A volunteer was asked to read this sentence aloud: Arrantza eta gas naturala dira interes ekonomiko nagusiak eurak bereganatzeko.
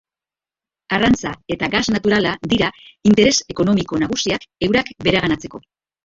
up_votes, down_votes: 0, 2